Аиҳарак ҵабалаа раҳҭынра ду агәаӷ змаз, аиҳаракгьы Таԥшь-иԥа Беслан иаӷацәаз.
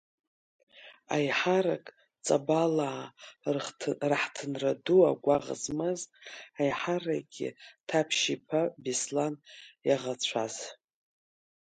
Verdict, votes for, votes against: rejected, 1, 3